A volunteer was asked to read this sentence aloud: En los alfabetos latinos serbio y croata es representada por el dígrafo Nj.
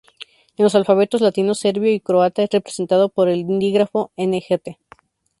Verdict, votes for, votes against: rejected, 0, 2